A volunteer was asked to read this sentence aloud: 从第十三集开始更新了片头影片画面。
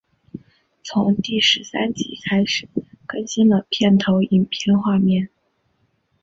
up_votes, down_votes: 2, 1